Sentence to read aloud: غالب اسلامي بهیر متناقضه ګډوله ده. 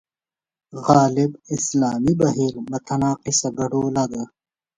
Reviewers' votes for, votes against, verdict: 2, 0, accepted